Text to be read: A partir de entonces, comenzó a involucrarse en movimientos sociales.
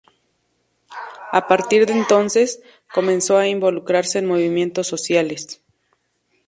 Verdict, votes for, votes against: accepted, 2, 0